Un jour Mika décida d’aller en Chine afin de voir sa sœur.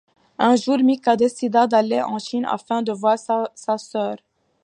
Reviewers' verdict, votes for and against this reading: accepted, 2, 1